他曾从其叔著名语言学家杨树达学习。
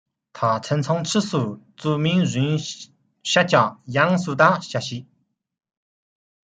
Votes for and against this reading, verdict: 1, 2, rejected